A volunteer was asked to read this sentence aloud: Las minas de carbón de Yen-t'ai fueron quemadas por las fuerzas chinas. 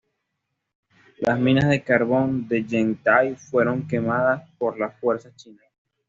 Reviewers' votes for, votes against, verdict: 2, 1, accepted